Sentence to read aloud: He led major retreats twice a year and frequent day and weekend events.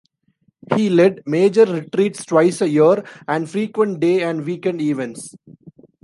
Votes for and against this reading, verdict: 2, 0, accepted